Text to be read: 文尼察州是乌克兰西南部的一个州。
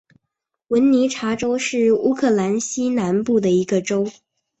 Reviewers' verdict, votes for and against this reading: accepted, 6, 0